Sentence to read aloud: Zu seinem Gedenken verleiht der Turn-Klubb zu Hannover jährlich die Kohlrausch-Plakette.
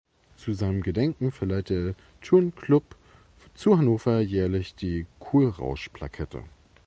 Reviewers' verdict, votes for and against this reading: rejected, 1, 2